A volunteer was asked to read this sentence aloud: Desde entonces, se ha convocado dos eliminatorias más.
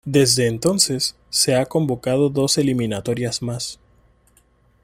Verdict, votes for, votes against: accepted, 2, 0